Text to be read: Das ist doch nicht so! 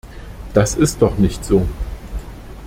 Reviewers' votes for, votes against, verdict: 2, 0, accepted